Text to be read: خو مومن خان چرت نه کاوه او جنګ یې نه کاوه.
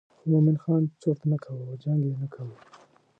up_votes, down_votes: 0, 2